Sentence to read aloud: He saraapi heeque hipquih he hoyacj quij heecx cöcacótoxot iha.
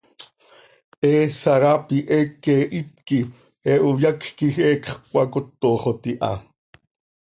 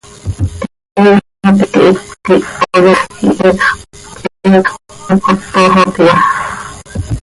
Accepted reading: first